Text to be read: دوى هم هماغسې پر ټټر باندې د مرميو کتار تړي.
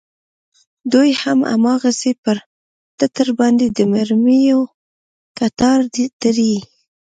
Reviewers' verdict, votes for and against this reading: rejected, 1, 2